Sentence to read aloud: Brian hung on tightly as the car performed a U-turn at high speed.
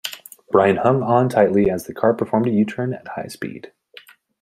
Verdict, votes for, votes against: accepted, 2, 1